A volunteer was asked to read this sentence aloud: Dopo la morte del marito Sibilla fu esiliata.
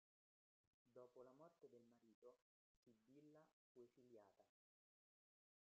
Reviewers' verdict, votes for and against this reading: rejected, 0, 2